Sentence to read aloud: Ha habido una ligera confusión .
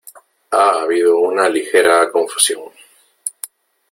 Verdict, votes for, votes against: accepted, 2, 0